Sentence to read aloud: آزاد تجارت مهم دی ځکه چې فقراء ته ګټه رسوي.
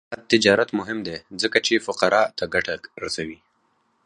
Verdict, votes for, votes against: accepted, 4, 0